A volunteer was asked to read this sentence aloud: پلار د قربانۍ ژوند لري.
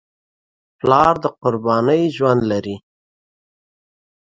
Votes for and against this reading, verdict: 2, 0, accepted